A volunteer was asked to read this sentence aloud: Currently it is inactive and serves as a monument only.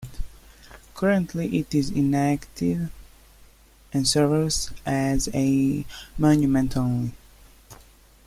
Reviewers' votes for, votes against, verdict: 2, 0, accepted